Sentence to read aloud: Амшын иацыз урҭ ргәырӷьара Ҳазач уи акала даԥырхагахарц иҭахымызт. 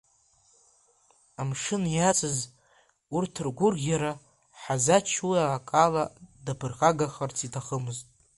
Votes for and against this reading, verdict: 2, 1, accepted